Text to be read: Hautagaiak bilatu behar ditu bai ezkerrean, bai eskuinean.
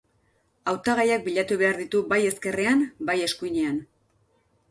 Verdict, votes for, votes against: accepted, 2, 0